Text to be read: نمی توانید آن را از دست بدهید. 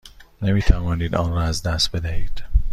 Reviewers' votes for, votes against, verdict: 2, 0, accepted